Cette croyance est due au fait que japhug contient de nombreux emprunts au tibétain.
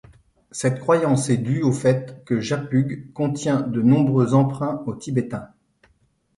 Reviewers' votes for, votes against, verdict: 2, 0, accepted